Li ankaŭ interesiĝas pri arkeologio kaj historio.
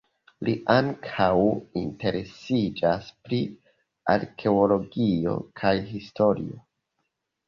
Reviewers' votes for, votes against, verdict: 1, 2, rejected